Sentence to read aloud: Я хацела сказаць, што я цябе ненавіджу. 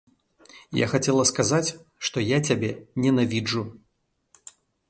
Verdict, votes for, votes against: accepted, 2, 0